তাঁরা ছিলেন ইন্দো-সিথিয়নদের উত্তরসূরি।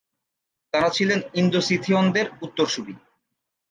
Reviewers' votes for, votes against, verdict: 9, 0, accepted